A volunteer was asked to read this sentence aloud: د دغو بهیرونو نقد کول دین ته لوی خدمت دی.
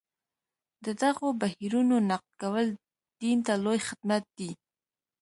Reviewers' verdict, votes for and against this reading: accepted, 2, 1